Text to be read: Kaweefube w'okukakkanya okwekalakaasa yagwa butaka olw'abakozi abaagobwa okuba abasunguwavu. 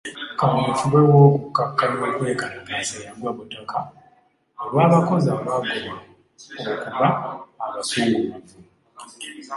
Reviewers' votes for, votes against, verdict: 1, 2, rejected